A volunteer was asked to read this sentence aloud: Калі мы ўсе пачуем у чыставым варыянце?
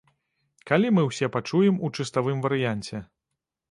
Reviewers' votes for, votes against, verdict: 2, 0, accepted